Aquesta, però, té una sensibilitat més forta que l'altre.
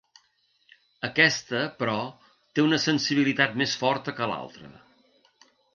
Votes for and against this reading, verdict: 3, 0, accepted